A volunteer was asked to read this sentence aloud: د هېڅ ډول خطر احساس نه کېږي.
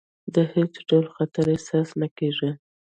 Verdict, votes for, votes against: rejected, 0, 2